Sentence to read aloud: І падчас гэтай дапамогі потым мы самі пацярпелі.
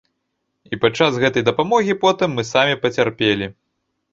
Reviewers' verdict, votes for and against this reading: accepted, 2, 0